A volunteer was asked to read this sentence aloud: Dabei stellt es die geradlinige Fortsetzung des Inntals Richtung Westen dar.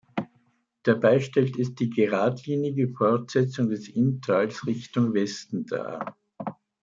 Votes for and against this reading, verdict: 2, 0, accepted